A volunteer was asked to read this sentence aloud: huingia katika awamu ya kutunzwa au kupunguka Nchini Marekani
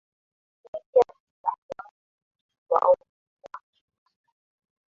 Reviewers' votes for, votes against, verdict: 0, 2, rejected